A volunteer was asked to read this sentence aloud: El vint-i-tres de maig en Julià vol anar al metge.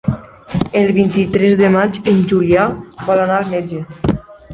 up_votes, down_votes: 3, 0